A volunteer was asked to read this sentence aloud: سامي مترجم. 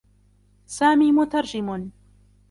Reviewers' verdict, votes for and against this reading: accepted, 2, 1